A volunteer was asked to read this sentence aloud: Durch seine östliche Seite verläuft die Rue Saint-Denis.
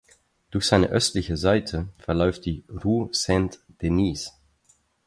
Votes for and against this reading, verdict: 4, 0, accepted